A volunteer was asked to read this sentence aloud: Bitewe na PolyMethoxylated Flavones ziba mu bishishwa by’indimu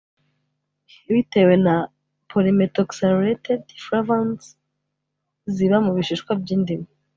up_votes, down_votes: 3, 0